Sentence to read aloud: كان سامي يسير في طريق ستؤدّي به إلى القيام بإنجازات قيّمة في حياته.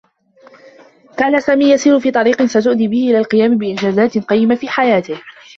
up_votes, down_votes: 1, 2